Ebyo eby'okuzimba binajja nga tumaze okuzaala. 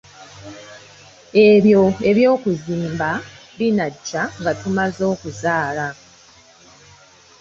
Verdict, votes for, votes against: accepted, 2, 0